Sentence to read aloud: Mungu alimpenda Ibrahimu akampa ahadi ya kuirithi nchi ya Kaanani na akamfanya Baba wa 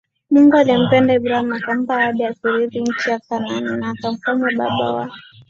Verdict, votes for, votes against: accepted, 2, 0